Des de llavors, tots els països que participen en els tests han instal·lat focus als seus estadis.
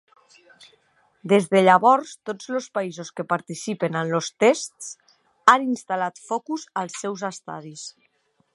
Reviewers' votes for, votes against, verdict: 0, 2, rejected